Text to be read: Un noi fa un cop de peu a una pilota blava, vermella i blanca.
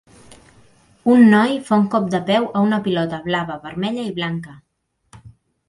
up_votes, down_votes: 3, 0